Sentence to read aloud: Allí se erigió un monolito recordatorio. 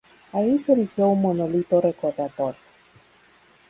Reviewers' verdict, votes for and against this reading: rejected, 0, 2